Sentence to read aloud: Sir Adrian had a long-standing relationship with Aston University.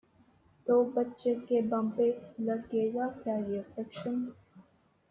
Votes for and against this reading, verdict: 0, 2, rejected